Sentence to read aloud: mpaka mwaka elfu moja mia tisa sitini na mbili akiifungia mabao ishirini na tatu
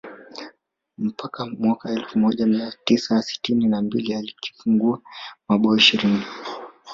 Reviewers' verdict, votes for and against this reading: rejected, 1, 2